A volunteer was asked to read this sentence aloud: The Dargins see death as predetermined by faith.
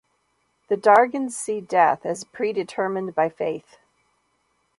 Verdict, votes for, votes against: accepted, 2, 0